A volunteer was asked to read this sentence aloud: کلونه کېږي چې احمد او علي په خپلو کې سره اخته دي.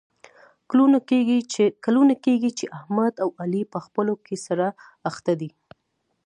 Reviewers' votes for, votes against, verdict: 1, 2, rejected